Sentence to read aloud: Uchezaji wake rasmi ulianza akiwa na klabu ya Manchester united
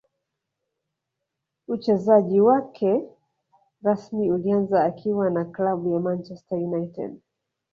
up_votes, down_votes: 2, 1